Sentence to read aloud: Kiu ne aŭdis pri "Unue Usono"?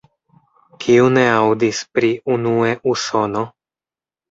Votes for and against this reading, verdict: 1, 2, rejected